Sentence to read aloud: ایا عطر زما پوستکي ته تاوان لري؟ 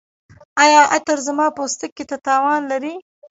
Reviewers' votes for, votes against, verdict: 0, 2, rejected